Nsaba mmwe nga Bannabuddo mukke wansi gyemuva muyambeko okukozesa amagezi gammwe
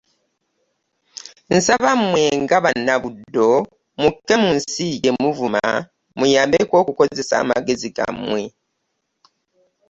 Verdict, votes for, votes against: rejected, 1, 2